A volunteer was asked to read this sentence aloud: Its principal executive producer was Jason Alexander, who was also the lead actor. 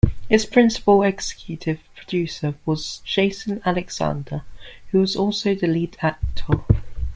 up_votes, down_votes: 2, 0